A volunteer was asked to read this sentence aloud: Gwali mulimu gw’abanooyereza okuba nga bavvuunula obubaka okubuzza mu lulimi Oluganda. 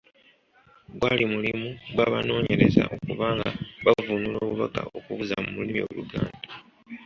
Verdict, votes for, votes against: accepted, 2, 0